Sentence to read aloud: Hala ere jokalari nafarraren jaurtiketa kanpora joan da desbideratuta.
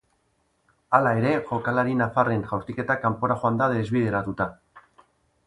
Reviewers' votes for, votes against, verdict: 1, 3, rejected